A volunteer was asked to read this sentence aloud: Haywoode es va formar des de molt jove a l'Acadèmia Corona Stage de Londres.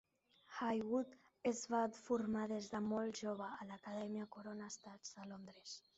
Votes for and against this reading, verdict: 0, 2, rejected